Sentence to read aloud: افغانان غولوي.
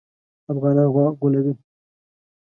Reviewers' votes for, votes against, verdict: 1, 2, rejected